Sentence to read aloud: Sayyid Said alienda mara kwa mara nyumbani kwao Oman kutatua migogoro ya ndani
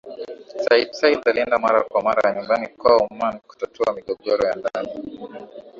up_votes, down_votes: 3, 1